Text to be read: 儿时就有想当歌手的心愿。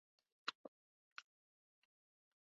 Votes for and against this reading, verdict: 0, 2, rejected